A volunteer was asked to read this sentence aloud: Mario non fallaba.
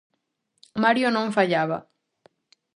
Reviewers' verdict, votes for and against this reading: accepted, 2, 0